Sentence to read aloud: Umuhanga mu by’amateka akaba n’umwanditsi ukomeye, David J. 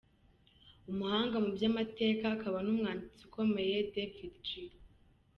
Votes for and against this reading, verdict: 1, 2, rejected